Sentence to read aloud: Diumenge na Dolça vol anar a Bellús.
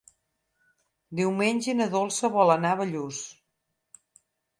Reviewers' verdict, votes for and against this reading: accepted, 6, 0